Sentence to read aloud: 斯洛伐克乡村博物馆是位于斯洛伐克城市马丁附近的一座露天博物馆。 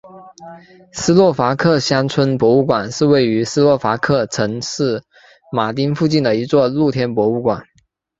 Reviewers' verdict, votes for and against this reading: accepted, 3, 0